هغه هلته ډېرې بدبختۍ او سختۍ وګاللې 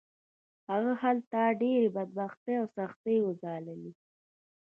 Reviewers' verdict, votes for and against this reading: accepted, 2, 1